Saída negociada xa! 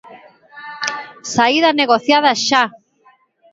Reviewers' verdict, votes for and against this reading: accepted, 2, 0